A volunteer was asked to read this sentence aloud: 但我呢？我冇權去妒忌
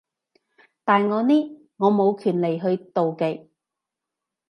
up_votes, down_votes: 0, 2